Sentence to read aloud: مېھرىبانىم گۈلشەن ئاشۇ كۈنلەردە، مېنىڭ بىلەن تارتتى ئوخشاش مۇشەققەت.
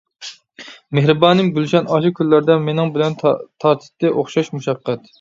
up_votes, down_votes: 0, 2